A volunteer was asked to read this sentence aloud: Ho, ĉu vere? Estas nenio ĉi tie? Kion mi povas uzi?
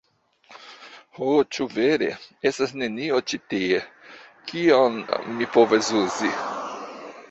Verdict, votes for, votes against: accepted, 2, 1